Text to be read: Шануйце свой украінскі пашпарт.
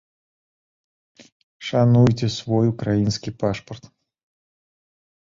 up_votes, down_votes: 3, 0